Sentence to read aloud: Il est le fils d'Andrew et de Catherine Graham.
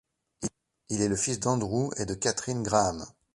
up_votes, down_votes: 1, 2